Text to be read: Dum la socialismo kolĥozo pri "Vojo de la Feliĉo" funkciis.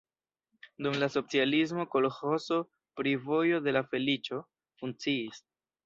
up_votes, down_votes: 1, 2